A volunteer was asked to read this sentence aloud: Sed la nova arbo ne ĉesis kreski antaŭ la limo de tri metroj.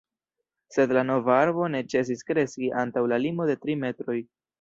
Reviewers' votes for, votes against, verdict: 1, 2, rejected